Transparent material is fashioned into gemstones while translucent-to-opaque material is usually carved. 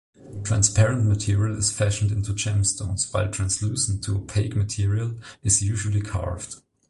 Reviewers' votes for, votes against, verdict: 2, 0, accepted